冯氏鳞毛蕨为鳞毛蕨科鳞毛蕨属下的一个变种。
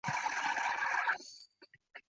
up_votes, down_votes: 0, 2